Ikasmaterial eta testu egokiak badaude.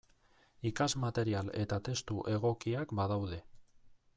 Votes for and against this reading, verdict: 2, 0, accepted